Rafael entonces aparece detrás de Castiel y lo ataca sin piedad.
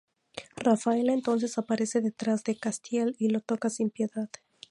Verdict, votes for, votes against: rejected, 0, 2